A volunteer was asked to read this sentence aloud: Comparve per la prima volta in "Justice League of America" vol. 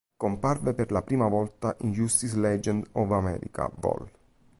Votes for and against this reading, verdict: 1, 2, rejected